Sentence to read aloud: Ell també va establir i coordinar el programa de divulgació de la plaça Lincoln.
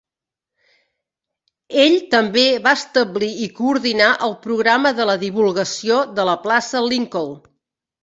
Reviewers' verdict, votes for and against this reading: rejected, 0, 3